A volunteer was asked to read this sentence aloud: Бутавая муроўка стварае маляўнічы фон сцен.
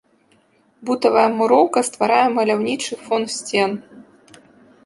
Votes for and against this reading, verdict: 2, 0, accepted